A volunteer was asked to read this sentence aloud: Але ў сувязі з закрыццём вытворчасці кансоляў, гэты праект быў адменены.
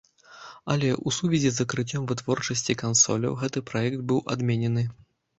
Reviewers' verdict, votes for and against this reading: accepted, 2, 0